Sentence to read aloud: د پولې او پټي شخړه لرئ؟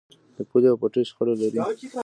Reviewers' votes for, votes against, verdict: 1, 2, rejected